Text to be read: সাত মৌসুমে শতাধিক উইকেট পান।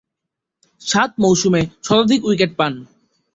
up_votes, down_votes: 4, 3